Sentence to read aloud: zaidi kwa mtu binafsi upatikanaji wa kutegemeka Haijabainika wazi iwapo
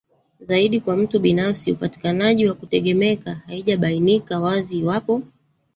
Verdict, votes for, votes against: rejected, 1, 2